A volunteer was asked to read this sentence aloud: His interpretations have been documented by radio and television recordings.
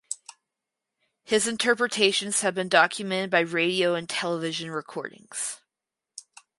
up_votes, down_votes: 4, 0